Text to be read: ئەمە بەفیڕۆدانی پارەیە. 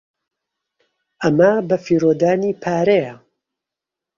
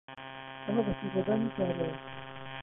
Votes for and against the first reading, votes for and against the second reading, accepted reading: 2, 0, 0, 2, first